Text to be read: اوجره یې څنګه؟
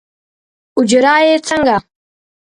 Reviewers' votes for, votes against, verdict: 2, 0, accepted